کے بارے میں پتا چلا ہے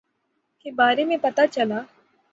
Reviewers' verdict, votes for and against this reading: rejected, 0, 3